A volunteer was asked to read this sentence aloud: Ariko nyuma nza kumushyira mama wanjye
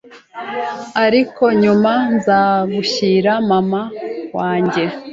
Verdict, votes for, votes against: rejected, 0, 2